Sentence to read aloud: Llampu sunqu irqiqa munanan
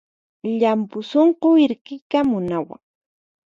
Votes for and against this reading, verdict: 0, 4, rejected